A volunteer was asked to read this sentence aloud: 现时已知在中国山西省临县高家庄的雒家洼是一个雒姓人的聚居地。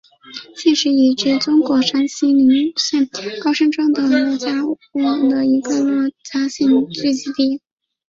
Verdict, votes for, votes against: rejected, 0, 3